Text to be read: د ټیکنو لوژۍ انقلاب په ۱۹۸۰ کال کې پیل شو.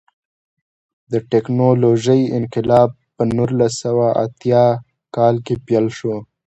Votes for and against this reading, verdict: 0, 2, rejected